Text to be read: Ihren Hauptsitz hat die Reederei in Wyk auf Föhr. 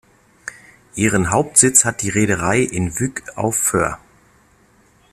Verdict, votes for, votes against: accepted, 2, 0